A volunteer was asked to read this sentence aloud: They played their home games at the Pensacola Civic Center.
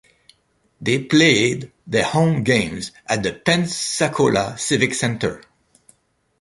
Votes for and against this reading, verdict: 2, 0, accepted